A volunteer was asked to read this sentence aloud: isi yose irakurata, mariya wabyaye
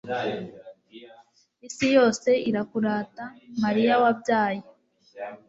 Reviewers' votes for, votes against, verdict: 2, 0, accepted